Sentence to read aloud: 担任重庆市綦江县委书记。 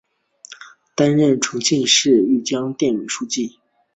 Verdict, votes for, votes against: accepted, 7, 1